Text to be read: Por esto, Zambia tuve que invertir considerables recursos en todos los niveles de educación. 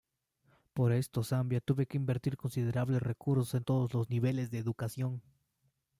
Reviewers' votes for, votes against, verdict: 2, 0, accepted